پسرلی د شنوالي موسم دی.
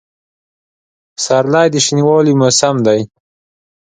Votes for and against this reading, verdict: 2, 0, accepted